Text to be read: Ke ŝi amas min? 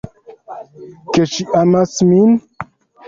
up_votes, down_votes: 2, 1